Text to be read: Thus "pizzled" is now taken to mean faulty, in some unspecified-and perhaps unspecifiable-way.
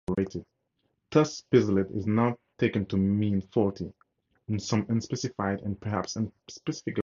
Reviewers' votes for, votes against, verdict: 0, 2, rejected